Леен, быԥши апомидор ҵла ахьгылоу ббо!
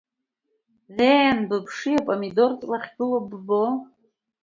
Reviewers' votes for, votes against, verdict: 2, 0, accepted